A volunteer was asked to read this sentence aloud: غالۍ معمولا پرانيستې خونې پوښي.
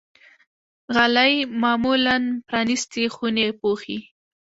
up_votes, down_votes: 1, 2